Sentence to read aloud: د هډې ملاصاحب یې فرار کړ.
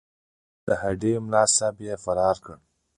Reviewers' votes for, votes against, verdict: 0, 2, rejected